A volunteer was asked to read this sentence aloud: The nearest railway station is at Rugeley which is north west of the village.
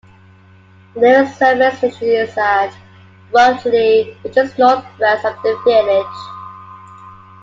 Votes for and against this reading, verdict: 1, 2, rejected